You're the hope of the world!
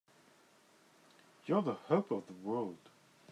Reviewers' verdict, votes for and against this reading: accepted, 2, 0